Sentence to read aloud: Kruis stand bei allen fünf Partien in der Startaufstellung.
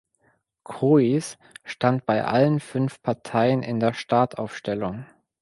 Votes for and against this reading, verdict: 1, 2, rejected